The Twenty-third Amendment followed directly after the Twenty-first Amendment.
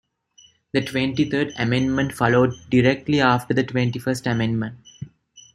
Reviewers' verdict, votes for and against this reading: accepted, 2, 0